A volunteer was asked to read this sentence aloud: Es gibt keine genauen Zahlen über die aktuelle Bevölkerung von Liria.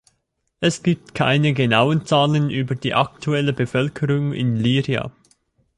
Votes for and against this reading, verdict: 0, 2, rejected